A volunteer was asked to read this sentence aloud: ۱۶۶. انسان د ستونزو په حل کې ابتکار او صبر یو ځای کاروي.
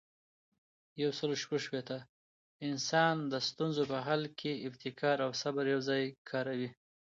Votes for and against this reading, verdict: 0, 2, rejected